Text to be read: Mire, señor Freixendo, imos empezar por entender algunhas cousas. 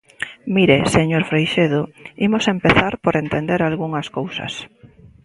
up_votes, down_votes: 0, 2